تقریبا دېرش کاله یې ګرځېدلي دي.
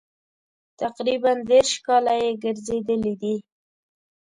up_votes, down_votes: 2, 0